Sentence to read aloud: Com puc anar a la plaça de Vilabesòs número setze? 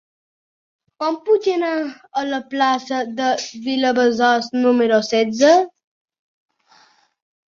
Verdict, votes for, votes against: accepted, 2, 1